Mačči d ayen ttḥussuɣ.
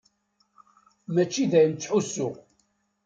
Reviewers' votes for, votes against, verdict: 2, 0, accepted